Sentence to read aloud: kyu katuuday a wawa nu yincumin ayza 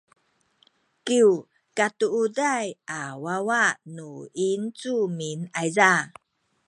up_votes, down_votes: 1, 2